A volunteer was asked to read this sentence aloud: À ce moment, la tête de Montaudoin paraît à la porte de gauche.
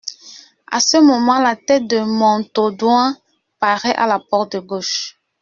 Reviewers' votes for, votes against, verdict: 2, 0, accepted